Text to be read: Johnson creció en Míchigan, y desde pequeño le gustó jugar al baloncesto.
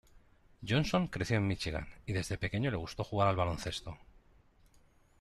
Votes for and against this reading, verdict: 2, 0, accepted